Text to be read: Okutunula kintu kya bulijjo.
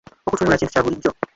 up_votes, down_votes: 3, 1